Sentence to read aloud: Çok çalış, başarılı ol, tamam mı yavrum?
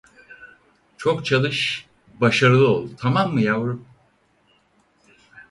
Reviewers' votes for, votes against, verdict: 4, 0, accepted